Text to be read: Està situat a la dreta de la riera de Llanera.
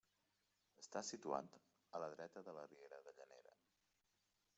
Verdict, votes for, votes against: rejected, 0, 2